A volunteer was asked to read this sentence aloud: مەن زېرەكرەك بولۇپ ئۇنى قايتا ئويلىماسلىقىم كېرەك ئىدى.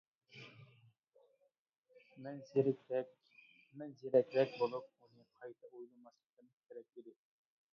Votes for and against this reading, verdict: 0, 2, rejected